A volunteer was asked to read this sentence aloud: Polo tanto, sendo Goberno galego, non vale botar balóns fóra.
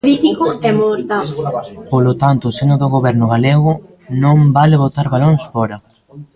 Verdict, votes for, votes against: rejected, 0, 2